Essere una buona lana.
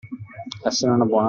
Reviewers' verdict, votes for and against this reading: rejected, 0, 2